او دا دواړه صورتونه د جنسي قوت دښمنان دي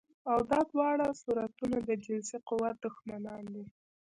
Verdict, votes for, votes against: rejected, 1, 2